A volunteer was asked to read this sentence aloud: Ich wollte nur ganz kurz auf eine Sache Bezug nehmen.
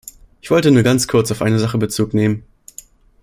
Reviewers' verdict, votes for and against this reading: accepted, 2, 0